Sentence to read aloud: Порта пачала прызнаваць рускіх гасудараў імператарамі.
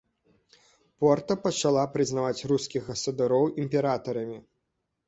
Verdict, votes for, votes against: rejected, 1, 2